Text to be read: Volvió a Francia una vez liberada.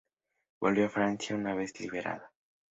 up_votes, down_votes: 2, 0